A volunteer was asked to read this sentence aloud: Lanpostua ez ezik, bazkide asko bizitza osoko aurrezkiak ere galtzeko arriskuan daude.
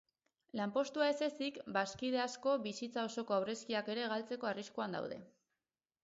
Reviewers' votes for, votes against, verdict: 4, 0, accepted